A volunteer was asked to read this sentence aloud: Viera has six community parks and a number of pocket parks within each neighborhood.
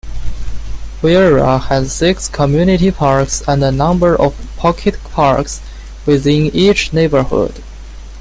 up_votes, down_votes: 2, 0